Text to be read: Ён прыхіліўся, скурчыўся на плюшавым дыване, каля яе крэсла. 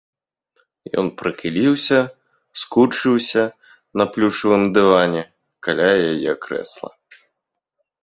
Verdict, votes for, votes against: accepted, 3, 0